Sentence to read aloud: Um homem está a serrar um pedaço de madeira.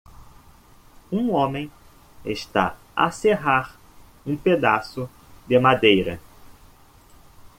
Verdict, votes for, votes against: accepted, 2, 0